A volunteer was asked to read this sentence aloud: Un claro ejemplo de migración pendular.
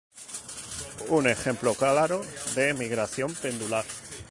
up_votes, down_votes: 0, 2